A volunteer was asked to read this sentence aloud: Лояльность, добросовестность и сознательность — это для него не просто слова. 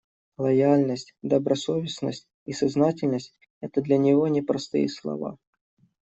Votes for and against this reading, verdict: 1, 2, rejected